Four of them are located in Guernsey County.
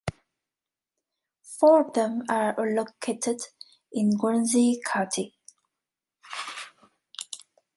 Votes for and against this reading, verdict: 2, 1, accepted